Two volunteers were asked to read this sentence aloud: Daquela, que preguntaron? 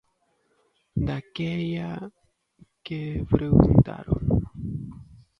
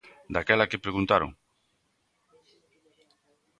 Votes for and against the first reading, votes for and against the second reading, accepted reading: 0, 2, 2, 0, second